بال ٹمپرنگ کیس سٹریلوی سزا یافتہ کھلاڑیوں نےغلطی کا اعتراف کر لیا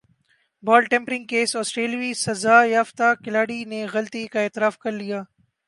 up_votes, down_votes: 2, 0